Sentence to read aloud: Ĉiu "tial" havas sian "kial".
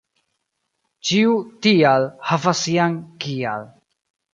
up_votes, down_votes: 1, 2